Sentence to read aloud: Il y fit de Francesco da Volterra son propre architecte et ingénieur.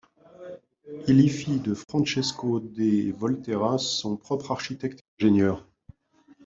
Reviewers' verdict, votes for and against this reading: rejected, 1, 2